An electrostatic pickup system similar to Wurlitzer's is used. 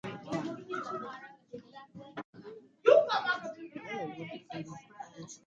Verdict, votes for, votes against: rejected, 0, 2